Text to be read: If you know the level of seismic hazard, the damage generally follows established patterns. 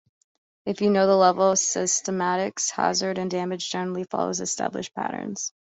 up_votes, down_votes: 0, 3